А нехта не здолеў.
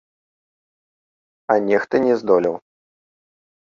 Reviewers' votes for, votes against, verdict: 2, 0, accepted